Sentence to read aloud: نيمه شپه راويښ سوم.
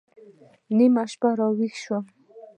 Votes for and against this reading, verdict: 0, 2, rejected